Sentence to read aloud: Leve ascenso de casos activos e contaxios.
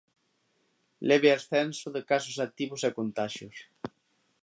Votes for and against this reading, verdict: 2, 0, accepted